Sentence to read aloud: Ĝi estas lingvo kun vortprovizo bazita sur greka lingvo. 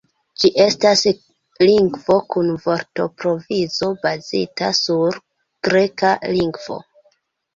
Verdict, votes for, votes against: accepted, 2, 0